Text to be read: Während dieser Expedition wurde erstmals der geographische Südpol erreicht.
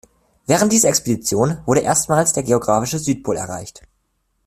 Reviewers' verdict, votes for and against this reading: accepted, 2, 0